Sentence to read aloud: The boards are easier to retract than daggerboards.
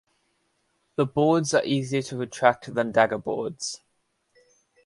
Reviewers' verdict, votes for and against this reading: accepted, 2, 0